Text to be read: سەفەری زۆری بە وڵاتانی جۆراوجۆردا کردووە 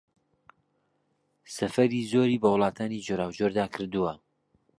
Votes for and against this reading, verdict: 2, 0, accepted